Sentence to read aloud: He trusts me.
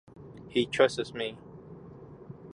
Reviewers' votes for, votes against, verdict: 1, 2, rejected